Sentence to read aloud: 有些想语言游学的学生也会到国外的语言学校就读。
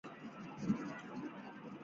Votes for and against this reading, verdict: 0, 4, rejected